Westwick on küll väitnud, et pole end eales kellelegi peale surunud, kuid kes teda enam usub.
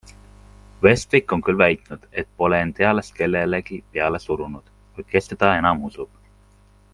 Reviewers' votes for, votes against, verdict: 2, 0, accepted